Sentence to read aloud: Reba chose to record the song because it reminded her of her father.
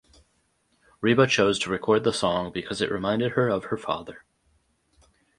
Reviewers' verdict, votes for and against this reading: accepted, 4, 0